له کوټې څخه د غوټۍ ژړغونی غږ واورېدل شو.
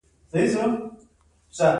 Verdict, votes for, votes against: accepted, 2, 1